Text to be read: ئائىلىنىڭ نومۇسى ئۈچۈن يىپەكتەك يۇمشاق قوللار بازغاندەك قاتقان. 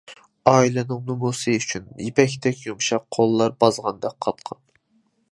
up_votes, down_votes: 2, 0